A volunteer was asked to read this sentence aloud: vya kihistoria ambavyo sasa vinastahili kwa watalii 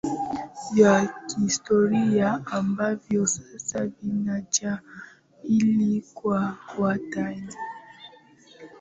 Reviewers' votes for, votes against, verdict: 0, 2, rejected